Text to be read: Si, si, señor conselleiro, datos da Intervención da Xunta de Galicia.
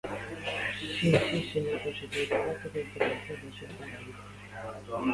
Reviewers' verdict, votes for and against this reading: rejected, 0, 2